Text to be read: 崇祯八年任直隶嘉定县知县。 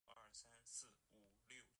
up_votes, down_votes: 1, 3